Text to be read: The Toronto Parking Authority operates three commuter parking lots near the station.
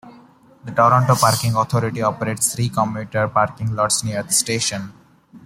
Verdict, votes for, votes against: accepted, 2, 0